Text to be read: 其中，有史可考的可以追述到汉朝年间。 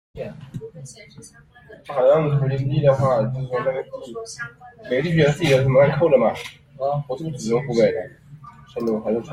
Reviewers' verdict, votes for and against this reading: rejected, 0, 2